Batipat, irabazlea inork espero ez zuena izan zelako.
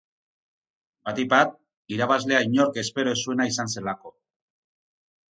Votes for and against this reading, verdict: 2, 0, accepted